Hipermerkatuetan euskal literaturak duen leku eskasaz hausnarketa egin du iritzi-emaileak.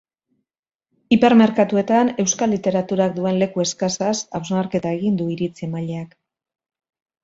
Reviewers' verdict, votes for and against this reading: accepted, 3, 1